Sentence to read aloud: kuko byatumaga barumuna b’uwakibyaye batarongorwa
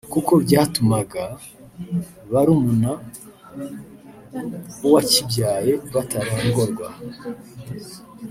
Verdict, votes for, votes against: accepted, 3, 0